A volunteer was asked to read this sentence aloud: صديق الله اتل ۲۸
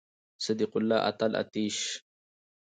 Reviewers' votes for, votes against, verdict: 0, 2, rejected